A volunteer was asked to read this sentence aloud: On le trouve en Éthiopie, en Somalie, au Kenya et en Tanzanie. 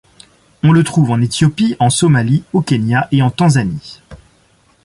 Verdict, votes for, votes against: accepted, 2, 0